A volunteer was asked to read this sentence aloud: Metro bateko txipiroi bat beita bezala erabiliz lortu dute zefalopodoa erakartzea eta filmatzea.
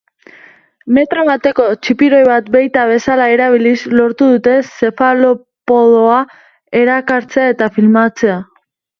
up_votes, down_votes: 2, 0